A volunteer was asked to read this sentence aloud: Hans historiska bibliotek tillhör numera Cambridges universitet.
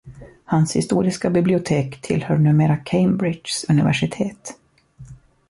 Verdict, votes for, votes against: accepted, 2, 0